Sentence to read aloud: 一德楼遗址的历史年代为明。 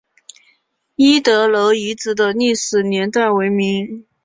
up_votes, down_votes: 2, 0